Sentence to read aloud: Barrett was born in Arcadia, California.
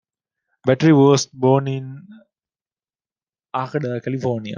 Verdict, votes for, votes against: rejected, 0, 2